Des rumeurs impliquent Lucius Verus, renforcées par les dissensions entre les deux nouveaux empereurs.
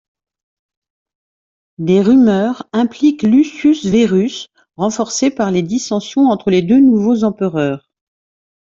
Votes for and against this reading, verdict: 1, 2, rejected